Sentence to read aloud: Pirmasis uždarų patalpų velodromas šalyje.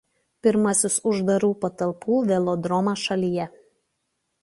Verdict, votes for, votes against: accepted, 2, 0